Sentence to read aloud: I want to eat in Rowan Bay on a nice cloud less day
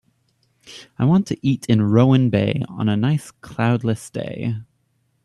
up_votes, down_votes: 3, 0